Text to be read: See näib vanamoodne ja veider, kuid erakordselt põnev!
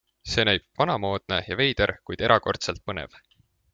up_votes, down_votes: 2, 0